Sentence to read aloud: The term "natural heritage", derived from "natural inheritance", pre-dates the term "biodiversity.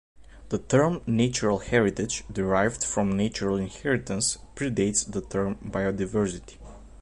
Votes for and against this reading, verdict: 2, 0, accepted